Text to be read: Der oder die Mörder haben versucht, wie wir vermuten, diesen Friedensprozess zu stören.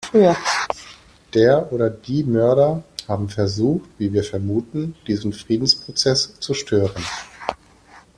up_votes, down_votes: 2, 0